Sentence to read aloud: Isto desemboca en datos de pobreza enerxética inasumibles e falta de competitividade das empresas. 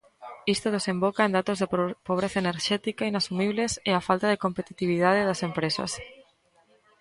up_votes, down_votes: 0, 2